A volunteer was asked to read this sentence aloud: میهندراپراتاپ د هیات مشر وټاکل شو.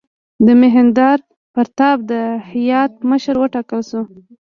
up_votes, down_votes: 1, 2